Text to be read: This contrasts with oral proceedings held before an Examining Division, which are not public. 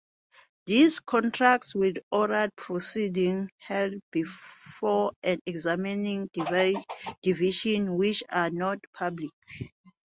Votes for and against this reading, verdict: 0, 2, rejected